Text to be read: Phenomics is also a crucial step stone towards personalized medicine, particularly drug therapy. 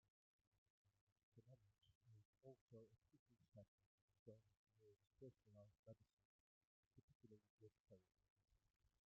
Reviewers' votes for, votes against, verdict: 1, 3, rejected